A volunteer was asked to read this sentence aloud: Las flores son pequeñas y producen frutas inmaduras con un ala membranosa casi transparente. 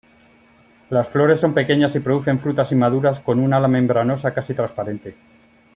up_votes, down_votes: 2, 0